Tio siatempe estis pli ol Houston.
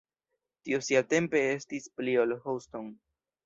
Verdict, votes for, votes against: rejected, 1, 2